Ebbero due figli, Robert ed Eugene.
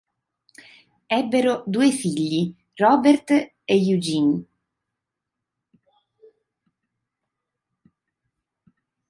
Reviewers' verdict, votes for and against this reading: rejected, 0, 2